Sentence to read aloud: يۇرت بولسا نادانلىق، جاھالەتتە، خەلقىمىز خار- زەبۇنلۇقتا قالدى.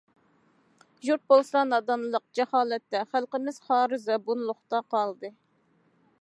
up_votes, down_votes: 2, 0